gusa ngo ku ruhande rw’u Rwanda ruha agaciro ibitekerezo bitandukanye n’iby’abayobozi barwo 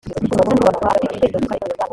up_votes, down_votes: 0, 2